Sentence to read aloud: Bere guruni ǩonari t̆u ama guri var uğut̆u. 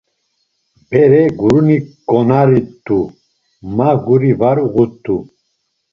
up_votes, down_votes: 1, 2